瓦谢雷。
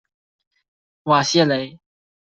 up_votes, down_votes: 2, 0